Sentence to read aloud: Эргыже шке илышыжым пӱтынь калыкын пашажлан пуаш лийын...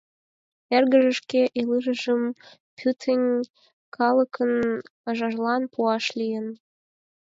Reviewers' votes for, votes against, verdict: 2, 4, rejected